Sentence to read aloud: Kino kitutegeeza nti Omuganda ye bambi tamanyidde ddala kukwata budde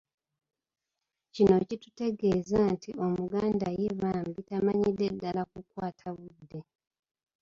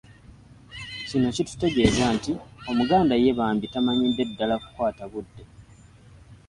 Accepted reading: second